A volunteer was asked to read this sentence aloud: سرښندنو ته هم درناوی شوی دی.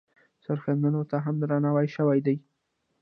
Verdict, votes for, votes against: rejected, 1, 2